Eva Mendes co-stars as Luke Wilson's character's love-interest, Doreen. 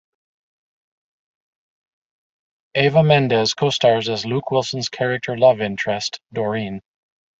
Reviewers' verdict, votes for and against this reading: rejected, 1, 2